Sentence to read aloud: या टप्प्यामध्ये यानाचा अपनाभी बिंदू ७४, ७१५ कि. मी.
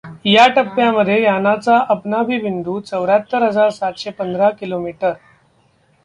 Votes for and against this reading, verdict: 0, 2, rejected